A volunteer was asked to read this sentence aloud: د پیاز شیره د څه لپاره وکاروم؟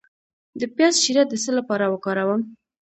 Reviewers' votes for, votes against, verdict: 2, 1, accepted